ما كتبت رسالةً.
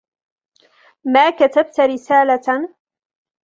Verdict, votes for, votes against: accepted, 2, 0